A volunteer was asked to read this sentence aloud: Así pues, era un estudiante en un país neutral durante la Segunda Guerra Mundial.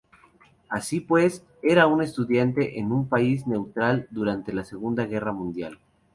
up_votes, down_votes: 2, 0